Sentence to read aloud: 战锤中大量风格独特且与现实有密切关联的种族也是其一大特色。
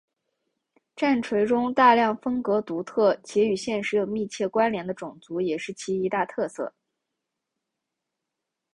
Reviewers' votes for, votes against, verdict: 2, 1, accepted